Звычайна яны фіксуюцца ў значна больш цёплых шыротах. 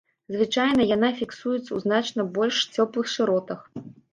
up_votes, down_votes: 0, 2